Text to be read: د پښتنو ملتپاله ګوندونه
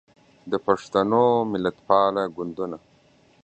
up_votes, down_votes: 2, 1